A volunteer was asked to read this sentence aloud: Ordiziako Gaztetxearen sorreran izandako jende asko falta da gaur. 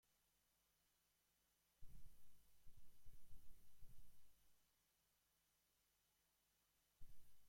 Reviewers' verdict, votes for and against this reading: rejected, 0, 2